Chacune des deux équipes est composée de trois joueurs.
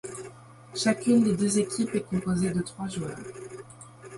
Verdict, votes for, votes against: rejected, 1, 2